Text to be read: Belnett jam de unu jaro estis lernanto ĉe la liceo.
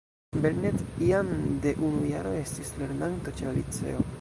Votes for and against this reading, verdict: 0, 2, rejected